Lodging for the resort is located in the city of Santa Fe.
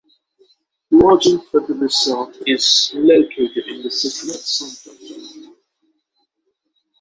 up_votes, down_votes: 0, 6